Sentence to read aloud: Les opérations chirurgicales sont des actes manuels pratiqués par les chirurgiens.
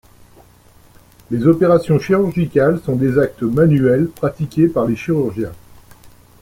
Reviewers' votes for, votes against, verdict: 2, 0, accepted